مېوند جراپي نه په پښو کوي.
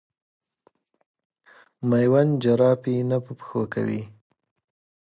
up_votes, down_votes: 1, 2